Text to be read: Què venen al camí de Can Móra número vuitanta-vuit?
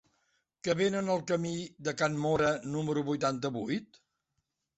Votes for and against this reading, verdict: 0, 2, rejected